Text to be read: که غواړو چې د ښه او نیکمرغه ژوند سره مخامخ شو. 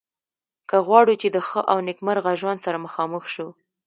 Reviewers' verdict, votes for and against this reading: accepted, 2, 0